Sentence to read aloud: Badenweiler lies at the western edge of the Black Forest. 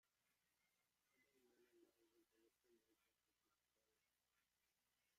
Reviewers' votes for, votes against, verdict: 0, 2, rejected